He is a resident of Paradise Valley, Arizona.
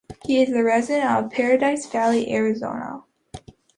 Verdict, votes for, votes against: accepted, 2, 0